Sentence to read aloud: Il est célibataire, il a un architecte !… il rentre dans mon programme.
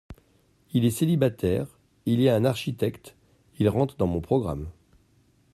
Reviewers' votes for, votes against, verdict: 0, 2, rejected